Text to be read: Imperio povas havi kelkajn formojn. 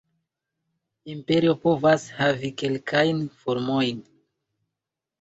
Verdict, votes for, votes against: rejected, 0, 2